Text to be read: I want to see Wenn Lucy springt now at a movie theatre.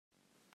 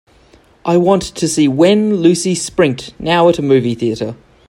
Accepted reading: second